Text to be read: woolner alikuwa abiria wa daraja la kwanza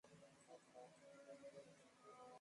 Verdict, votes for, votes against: rejected, 1, 2